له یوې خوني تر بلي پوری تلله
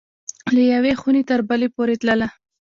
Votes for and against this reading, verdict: 2, 0, accepted